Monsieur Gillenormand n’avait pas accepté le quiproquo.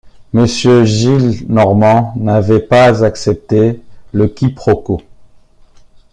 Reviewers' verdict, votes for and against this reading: accepted, 2, 0